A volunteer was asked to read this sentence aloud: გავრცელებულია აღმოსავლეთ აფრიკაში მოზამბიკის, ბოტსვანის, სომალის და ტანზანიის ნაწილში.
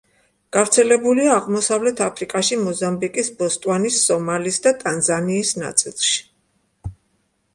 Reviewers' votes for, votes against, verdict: 0, 2, rejected